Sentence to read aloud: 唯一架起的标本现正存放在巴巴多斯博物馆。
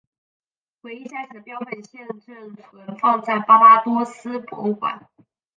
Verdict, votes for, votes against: accepted, 2, 0